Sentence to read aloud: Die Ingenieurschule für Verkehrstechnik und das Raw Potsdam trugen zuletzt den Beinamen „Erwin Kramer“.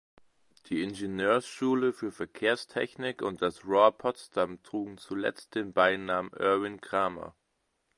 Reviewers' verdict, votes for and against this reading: rejected, 1, 2